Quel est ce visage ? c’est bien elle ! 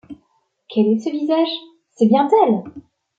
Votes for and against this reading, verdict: 1, 2, rejected